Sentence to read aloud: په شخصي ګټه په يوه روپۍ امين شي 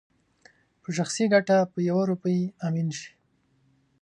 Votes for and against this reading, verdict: 2, 0, accepted